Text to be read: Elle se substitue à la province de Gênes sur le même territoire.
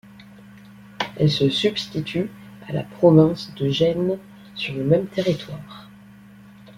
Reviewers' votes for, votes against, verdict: 2, 0, accepted